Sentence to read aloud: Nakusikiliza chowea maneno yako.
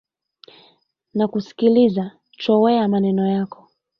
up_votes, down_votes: 2, 0